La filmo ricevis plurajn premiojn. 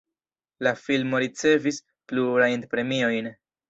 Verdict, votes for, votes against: rejected, 1, 2